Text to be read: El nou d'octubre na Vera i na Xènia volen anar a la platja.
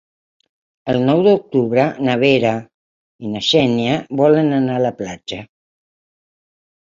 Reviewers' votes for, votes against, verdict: 6, 2, accepted